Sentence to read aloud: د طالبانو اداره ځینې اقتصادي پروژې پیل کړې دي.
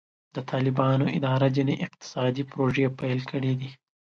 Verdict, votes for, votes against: accepted, 2, 0